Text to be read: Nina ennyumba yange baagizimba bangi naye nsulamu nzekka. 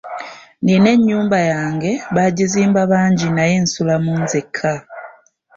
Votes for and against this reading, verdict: 2, 0, accepted